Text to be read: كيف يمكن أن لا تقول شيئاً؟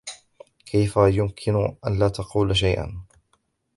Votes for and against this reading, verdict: 3, 2, accepted